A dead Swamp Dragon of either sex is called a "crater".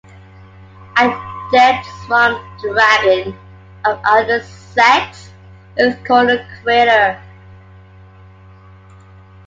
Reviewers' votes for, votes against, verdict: 1, 2, rejected